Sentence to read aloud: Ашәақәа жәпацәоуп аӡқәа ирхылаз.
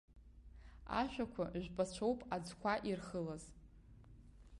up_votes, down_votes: 3, 0